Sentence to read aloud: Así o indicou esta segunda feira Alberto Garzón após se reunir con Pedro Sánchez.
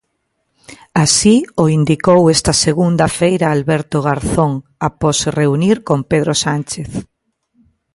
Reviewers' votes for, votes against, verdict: 2, 0, accepted